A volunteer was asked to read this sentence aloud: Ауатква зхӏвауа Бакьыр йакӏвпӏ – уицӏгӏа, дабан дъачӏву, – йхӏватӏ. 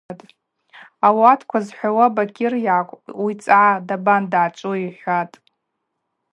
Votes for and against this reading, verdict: 2, 0, accepted